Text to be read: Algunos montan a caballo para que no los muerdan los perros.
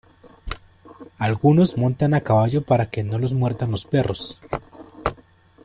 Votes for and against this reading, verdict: 2, 1, accepted